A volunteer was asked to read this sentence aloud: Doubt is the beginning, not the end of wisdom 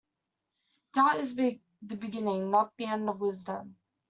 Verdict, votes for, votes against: rejected, 1, 2